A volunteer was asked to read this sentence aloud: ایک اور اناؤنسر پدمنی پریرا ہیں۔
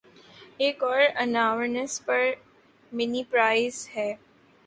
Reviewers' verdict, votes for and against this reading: accepted, 6, 4